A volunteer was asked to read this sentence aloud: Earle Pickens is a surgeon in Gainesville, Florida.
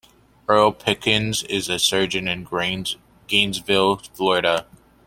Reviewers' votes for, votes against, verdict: 0, 2, rejected